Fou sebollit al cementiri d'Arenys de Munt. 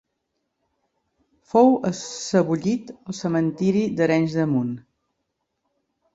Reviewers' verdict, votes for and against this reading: rejected, 0, 2